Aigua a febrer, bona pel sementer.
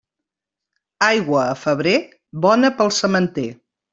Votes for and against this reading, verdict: 2, 0, accepted